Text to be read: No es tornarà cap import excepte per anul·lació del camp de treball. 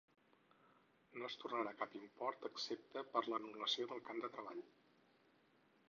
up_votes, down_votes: 2, 8